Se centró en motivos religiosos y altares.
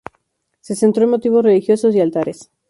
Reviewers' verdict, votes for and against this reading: accepted, 4, 0